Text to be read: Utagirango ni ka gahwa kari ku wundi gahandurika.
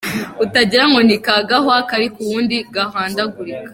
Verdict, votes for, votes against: rejected, 0, 2